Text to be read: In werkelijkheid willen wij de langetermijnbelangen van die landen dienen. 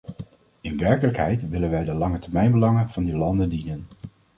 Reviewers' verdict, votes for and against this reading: accepted, 2, 0